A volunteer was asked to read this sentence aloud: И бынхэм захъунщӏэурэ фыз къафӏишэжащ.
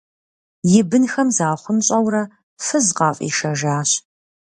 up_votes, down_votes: 2, 0